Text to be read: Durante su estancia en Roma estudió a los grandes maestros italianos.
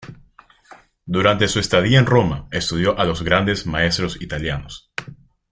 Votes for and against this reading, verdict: 0, 2, rejected